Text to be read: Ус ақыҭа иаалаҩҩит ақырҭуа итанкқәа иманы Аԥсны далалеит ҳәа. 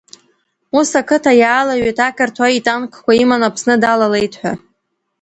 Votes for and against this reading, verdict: 2, 0, accepted